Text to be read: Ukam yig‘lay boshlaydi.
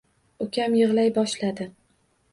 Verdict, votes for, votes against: rejected, 1, 2